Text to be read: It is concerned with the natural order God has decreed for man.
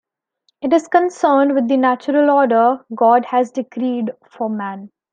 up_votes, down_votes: 2, 0